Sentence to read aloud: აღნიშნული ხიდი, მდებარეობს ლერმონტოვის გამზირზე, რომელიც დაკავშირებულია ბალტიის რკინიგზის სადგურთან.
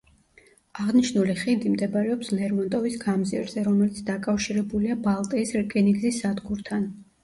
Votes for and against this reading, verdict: 0, 2, rejected